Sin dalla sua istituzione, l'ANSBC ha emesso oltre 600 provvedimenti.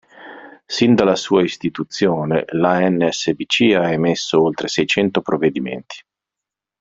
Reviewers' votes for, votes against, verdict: 0, 2, rejected